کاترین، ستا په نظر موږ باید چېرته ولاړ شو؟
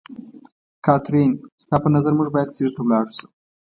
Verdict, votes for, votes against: accepted, 2, 0